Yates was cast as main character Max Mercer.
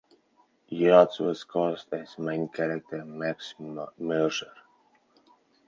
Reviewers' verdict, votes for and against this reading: rejected, 0, 4